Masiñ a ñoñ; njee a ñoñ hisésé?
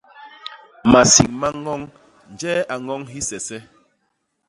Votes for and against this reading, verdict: 0, 2, rejected